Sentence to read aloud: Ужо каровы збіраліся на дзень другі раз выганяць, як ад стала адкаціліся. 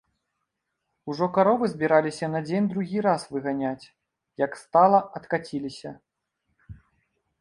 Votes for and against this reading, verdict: 1, 2, rejected